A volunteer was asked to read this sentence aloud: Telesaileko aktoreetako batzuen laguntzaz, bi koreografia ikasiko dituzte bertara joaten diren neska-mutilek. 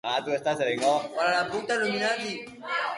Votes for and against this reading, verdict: 0, 3, rejected